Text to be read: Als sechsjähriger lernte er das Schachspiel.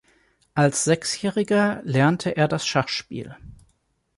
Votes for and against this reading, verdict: 2, 0, accepted